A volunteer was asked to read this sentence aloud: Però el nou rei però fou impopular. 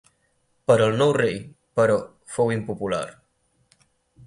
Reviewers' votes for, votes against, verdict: 4, 2, accepted